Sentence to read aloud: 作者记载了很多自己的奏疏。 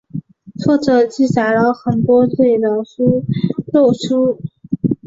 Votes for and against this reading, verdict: 1, 3, rejected